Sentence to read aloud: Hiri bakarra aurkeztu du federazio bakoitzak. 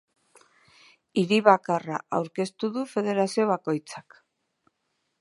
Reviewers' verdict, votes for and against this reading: accepted, 2, 0